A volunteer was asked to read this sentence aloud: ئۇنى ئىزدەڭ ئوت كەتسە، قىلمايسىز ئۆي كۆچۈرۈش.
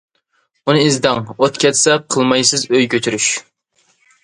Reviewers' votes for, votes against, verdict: 2, 0, accepted